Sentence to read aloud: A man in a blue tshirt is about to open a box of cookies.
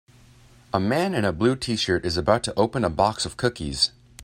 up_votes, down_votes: 3, 0